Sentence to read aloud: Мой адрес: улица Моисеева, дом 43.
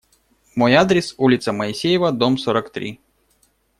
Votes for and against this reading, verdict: 0, 2, rejected